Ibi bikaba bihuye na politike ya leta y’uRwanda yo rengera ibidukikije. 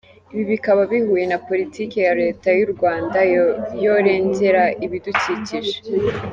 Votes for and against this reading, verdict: 1, 2, rejected